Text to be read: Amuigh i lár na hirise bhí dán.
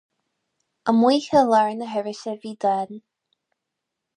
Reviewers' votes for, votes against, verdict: 2, 2, rejected